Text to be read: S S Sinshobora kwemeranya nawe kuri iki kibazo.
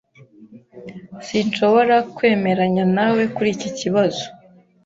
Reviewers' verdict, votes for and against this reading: rejected, 1, 2